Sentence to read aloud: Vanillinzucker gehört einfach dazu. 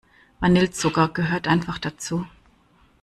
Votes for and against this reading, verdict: 0, 2, rejected